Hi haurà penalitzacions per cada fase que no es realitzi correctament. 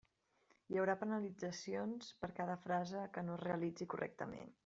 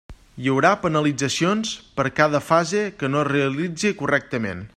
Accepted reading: second